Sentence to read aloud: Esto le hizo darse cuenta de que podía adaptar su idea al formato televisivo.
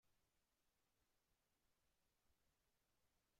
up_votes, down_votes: 0, 2